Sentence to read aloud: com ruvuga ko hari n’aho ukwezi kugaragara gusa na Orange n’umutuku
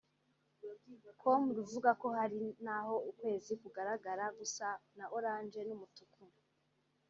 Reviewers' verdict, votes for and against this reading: accepted, 2, 0